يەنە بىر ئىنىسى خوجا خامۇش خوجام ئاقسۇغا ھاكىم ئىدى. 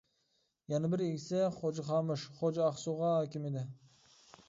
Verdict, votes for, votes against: rejected, 0, 2